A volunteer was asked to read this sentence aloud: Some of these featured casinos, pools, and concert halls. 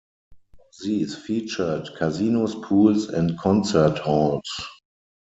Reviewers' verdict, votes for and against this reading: rejected, 0, 4